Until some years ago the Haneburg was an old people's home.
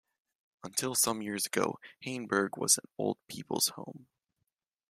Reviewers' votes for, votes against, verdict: 1, 2, rejected